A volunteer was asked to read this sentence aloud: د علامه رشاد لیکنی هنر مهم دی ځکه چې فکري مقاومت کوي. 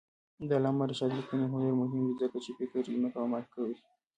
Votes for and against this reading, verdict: 1, 2, rejected